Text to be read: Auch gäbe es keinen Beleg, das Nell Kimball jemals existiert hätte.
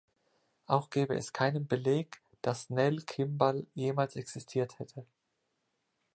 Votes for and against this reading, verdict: 2, 0, accepted